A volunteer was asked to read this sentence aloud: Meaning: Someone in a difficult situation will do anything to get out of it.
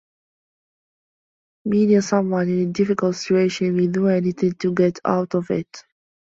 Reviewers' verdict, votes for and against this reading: rejected, 0, 2